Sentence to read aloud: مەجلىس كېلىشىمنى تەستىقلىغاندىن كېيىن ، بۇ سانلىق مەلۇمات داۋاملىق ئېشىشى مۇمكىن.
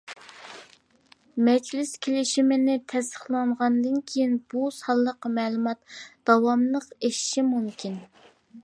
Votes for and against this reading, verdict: 0, 2, rejected